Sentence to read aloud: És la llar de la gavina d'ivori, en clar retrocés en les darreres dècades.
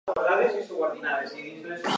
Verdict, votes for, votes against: rejected, 0, 2